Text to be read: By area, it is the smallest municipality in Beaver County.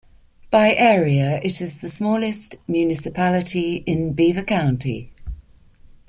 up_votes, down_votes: 2, 0